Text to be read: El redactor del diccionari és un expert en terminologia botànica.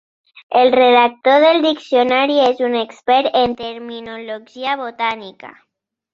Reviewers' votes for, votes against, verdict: 0, 2, rejected